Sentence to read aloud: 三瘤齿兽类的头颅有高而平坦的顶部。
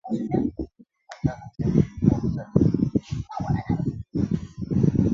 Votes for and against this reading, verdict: 0, 3, rejected